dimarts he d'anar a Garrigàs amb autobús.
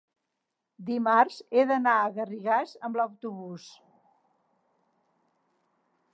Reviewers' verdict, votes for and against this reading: rejected, 0, 3